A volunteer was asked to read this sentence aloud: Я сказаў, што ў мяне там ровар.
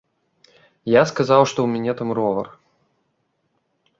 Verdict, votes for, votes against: accepted, 2, 0